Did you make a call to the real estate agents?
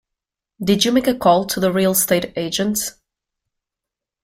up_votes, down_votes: 1, 2